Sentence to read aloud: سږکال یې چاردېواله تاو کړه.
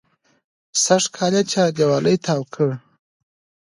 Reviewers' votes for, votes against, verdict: 2, 0, accepted